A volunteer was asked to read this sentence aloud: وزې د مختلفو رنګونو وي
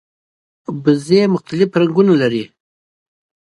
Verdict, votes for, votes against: accepted, 2, 1